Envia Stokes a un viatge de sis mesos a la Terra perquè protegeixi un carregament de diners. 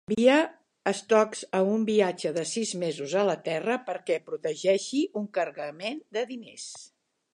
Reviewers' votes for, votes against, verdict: 1, 2, rejected